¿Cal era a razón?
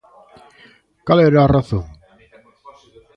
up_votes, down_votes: 0, 2